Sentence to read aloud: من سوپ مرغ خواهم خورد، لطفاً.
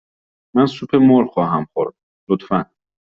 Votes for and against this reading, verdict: 2, 0, accepted